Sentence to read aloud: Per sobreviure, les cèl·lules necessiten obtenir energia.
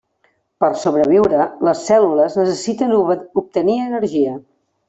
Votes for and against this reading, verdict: 0, 2, rejected